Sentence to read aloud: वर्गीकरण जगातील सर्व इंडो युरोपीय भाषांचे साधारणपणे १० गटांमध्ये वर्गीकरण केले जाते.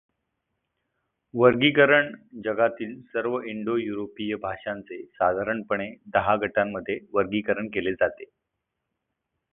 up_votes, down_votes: 0, 2